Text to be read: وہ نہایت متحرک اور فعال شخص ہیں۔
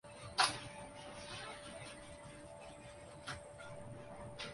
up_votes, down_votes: 1, 2